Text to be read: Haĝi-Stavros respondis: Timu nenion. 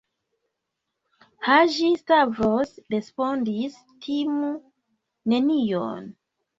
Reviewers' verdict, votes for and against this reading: accepted, 2, 1